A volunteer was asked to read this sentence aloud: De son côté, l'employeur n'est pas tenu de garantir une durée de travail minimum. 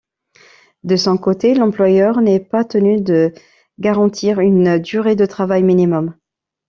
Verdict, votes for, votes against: rejected, 1, 2